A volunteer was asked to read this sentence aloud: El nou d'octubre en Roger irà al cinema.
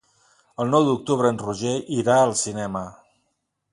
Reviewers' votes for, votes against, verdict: 3, 0, accepted